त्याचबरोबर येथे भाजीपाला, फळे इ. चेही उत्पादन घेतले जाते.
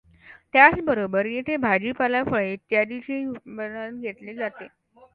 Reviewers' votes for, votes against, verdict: 0, 2, rejected